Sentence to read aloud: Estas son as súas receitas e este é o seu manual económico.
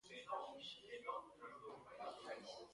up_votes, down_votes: 0, 2